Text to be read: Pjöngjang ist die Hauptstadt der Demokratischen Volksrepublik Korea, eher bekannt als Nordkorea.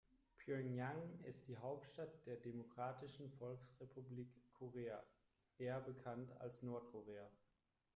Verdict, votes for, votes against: accepted, 2, 1